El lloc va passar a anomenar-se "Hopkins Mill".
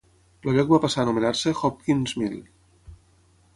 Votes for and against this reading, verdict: 0, 3, rejected